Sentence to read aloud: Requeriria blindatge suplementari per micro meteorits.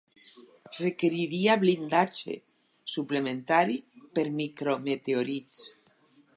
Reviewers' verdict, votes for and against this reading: accepted, 4, 0